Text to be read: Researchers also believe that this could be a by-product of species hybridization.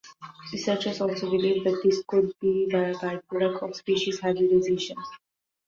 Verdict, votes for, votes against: accepted, 2, 1